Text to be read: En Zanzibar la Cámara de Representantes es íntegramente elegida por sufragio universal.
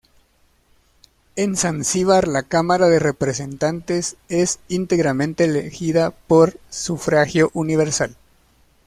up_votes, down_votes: 2, 0